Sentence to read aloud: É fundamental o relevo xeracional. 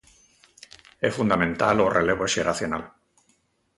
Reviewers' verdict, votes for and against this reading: accepted, 2, 0